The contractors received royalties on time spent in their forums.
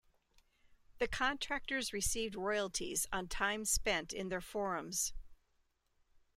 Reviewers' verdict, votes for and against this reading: accepted, 2, 0